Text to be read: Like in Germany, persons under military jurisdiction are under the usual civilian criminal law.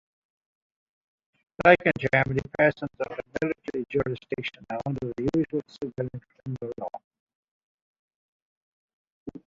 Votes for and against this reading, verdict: 0, 2, rejected